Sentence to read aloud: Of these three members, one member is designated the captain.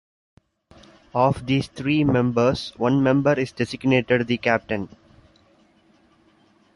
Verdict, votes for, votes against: accepted, 2, 0